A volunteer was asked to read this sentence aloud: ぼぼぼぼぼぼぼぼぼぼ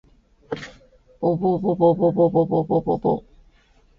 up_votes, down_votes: 3, 1